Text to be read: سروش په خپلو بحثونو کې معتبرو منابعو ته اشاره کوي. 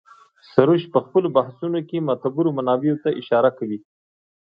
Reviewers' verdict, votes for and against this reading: accepted, 2, 0